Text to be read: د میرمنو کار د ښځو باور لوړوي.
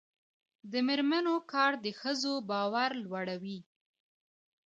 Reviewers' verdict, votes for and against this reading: accepted, 2, 0